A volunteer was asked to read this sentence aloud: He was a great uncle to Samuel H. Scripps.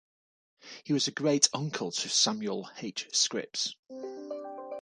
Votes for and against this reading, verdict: 2, 0, accepted